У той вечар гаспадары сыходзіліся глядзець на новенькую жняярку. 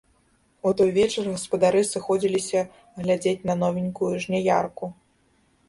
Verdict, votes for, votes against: accepted, 2, 0